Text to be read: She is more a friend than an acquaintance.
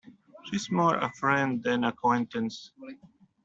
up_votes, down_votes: 0, 2